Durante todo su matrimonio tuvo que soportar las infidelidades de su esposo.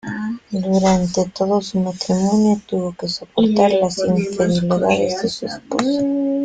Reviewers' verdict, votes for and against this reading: rejected, 1, 2